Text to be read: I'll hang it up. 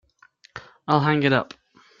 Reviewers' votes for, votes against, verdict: 2, 0, accepted